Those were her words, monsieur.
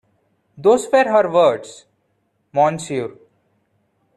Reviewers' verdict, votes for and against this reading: rejected, 1, 2